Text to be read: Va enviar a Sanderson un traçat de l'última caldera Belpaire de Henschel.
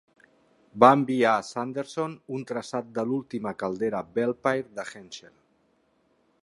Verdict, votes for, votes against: accepted, 5, 1